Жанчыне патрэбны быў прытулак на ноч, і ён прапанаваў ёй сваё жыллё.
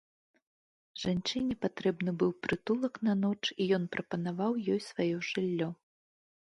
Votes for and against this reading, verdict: 2, 0, accepted